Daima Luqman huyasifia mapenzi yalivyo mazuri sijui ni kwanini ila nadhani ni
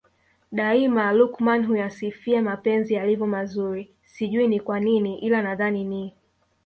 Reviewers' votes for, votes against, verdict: 3, 1, accepted